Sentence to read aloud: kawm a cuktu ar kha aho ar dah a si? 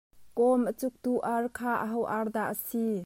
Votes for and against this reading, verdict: 2, 0, accepted